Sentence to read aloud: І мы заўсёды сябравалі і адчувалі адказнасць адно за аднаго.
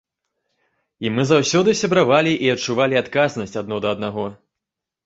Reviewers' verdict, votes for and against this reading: rejected, 0, 2